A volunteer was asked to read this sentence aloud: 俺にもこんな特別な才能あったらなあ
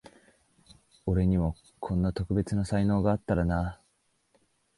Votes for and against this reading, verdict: 7, 6, accepted